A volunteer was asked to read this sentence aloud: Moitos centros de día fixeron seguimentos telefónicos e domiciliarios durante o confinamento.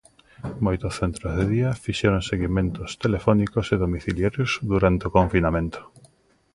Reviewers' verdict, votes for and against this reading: accepted, 2, 1